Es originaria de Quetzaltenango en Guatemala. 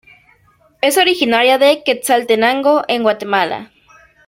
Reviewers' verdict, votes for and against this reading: accepted, 2, 0